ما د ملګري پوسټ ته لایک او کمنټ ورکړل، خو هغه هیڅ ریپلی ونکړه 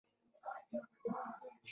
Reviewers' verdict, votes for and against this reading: rejected, 0, 2